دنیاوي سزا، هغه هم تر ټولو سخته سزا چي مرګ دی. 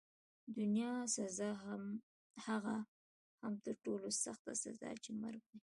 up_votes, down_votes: 2, 0